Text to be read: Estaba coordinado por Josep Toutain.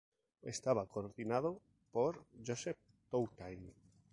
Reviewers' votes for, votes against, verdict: 2, 0, accepted